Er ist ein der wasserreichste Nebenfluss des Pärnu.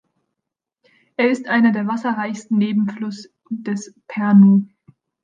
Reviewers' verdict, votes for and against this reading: rejected, 1, 2